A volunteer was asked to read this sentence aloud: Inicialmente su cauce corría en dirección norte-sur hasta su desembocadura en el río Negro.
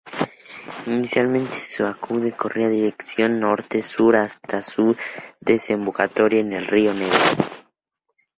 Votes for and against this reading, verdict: 0, 2, rejected